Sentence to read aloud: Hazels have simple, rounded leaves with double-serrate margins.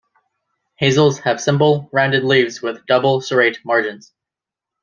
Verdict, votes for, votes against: accepted, 2, 0